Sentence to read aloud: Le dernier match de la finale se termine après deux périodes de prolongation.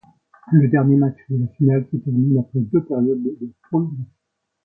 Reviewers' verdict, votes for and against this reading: rejected, 0, 2